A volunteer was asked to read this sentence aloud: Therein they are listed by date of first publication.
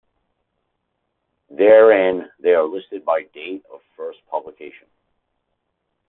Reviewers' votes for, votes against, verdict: 2, 0, accepted